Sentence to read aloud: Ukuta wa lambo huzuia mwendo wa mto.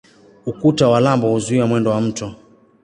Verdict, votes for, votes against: accepted, 2, 0